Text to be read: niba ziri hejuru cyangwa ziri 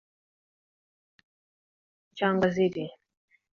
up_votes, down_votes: 1, 2